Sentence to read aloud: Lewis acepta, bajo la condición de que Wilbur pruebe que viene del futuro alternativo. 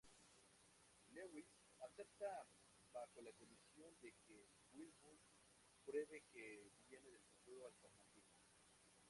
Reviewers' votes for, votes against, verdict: 0, 2, rejected